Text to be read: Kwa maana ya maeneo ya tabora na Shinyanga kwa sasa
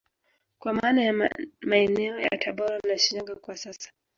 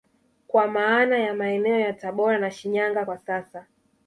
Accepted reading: first